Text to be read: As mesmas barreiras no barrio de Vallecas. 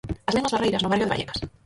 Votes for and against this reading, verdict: 0, 4, rejected